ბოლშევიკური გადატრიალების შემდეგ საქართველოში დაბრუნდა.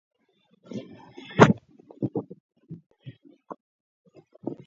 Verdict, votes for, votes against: accepted, 2, 1